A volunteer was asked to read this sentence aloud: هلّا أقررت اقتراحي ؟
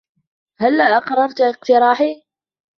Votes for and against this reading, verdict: 2, 0, accepted